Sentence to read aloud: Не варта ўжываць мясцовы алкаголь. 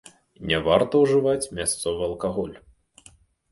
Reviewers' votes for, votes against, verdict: 2, 0, accepted